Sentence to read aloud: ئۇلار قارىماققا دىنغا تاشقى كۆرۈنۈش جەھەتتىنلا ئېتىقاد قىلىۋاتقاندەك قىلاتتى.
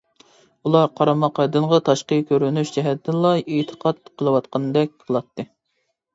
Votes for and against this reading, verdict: 2, 0, accepted